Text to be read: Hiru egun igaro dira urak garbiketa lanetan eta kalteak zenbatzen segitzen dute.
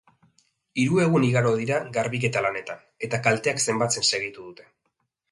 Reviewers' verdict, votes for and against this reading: rejected, 1, 4